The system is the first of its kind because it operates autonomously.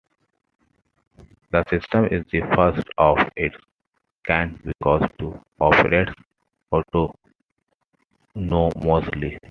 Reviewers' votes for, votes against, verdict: 2, 0, accepted